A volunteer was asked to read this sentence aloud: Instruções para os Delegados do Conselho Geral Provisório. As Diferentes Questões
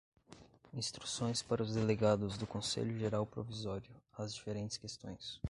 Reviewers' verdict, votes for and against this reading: rejected, 1, 2